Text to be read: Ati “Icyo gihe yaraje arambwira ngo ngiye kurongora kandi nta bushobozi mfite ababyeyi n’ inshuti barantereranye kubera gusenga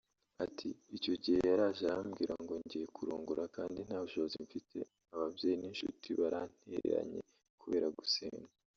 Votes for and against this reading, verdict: 0, 2, rejected